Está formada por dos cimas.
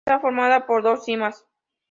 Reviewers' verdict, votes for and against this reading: accepted, 2, 0